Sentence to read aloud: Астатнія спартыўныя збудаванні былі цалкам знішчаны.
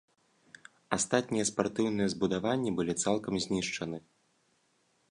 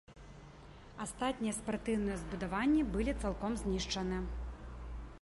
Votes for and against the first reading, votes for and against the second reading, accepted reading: 2, 0, 0, 3, first